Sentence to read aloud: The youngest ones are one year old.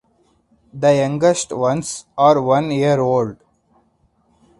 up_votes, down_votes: 4, 0